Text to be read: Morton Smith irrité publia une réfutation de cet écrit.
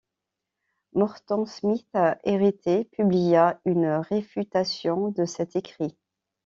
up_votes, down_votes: 1, 2